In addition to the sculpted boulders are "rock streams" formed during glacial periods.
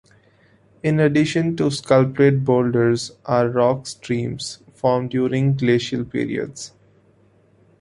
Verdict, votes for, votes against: accepted, 2, 0